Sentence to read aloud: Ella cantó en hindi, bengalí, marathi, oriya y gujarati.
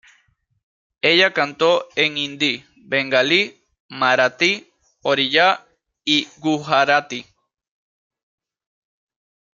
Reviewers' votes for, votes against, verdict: 2, 0, accepted